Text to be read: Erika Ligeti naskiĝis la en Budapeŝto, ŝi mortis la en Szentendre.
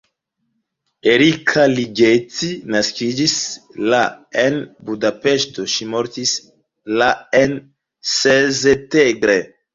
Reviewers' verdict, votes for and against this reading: rejected, 0, 2